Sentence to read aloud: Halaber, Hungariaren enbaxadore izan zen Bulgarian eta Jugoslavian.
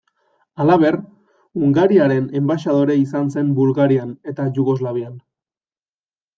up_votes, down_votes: 2, 0